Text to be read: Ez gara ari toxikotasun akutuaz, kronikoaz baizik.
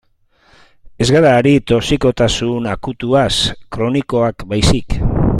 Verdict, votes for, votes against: rejected, 0, 2